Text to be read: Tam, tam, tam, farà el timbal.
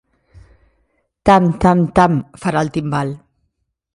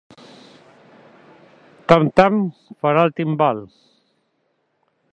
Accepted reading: first